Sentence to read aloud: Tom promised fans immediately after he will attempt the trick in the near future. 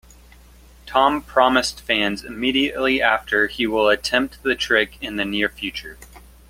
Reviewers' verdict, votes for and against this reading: accepted, 2, 0